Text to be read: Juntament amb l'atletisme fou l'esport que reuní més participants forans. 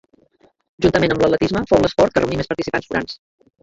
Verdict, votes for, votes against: rejected, 1, 2